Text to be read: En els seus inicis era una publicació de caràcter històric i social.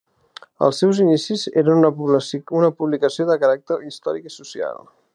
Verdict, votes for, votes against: rejected, 1, 2